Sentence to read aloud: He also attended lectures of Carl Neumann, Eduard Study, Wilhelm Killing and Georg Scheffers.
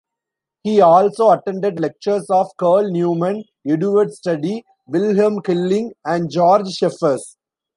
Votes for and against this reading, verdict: 2, 1, accepted